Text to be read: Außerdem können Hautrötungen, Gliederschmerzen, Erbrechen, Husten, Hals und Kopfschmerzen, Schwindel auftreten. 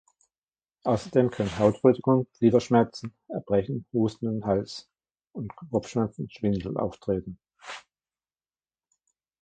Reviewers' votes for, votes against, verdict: 1, 2, rejected